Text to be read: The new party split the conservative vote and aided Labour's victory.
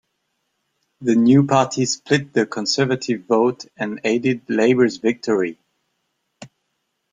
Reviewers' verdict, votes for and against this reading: accepted, 2, 0